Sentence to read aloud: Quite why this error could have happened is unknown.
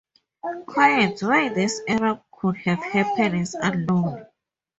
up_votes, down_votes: 0, 2